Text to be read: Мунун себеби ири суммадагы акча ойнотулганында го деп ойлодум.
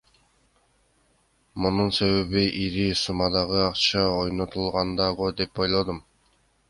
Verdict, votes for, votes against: rejected, 1, 2